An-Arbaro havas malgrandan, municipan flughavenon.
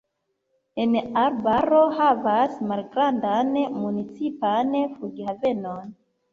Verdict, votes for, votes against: accepted, 2, 0